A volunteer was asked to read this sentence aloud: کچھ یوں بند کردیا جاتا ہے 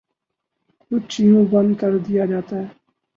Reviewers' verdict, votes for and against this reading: rejected, 0, 2